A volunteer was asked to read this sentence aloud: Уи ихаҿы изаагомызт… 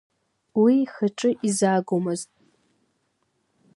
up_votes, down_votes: 2, 0